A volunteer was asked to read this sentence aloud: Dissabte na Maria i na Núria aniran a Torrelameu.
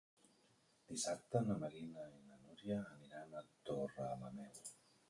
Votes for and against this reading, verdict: 2, 4, rejected